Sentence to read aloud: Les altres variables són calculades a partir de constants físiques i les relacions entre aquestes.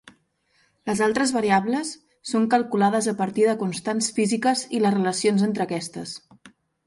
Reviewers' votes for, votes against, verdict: 6, 0, accepted